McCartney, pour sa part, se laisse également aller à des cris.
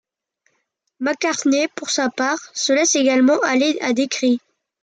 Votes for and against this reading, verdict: 2, 0, accepted